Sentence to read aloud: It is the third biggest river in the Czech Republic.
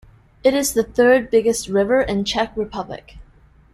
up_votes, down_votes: 1, 2